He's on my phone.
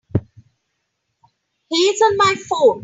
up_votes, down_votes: 2, 1